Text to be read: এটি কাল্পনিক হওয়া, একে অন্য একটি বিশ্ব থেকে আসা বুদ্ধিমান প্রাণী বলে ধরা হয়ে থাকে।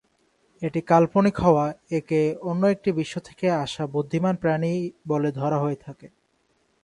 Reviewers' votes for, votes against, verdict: 2, 0, accepted